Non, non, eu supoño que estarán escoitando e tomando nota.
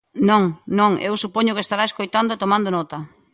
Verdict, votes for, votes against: rejected, 0, 2